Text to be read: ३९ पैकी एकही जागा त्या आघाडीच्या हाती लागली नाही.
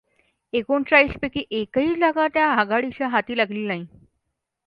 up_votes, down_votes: 0, 2